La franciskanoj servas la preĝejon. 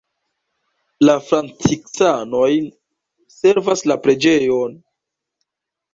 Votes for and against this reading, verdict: 2, 0, accepted